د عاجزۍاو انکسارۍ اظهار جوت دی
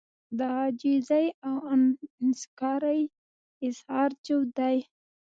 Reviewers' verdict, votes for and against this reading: rejected, 1, 2